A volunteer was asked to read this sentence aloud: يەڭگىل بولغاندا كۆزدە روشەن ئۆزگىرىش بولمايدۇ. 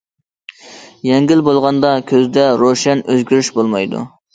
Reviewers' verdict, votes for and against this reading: accepted, 2, 0